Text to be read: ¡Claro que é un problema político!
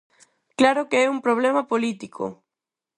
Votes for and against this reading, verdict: 4, 0, accepted